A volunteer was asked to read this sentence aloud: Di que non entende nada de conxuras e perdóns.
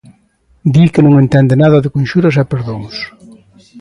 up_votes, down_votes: 2, 1